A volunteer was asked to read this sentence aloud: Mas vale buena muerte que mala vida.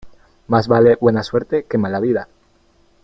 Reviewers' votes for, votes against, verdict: 1, 2, rejected